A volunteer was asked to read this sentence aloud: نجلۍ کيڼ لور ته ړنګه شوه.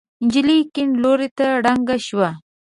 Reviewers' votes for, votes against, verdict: 2, 0, accepted